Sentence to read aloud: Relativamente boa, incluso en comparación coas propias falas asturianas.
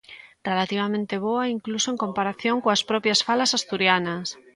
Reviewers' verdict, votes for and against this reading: accepted, 2, 0